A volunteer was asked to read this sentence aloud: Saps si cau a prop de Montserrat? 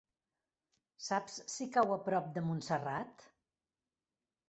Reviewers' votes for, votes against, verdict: 5, 0, accepted